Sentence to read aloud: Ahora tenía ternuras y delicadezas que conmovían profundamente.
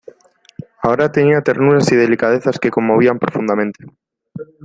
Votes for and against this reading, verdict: 2, 0, accepted